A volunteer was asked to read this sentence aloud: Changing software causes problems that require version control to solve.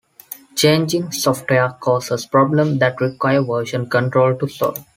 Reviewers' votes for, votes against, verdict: 0, 2, rejected